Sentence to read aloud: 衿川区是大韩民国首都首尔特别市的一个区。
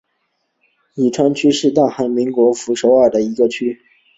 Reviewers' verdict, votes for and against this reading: accepted, 4, 0